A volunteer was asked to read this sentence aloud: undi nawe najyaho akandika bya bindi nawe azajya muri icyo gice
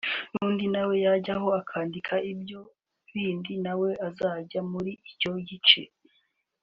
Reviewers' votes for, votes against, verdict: 1, 2, rejected